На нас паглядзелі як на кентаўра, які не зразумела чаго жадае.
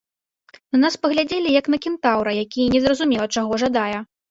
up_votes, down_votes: 2, 0